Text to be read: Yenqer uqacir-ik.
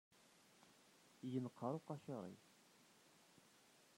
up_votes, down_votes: 0, 2